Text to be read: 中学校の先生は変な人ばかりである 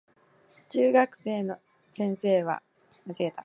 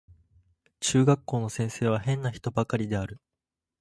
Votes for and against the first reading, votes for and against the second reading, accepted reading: 0, 2, 2, 0, second